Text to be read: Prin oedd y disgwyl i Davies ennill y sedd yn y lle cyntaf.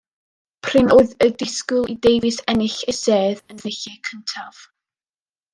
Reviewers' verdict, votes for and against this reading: rejected, 1, 2